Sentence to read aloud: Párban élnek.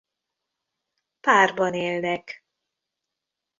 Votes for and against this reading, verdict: 2, 0, accepted